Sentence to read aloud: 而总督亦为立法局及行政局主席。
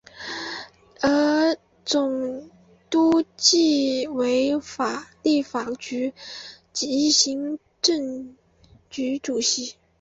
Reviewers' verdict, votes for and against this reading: rejected, 1, 2